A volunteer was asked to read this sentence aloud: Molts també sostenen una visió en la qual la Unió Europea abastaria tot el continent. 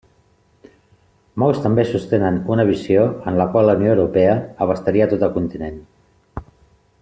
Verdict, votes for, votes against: accepted, 2, 0